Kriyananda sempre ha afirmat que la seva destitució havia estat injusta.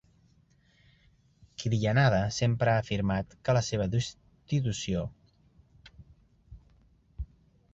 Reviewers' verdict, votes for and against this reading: rejected, 0, 2